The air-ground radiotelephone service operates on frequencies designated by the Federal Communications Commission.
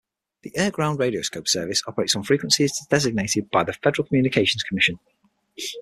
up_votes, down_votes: 3, 6